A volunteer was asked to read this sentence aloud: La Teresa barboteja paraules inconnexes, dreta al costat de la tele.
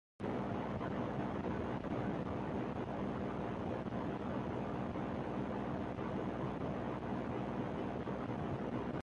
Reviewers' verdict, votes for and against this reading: rejected, 0, 2